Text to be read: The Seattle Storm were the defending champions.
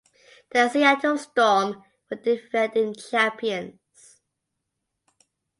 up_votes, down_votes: 0, 2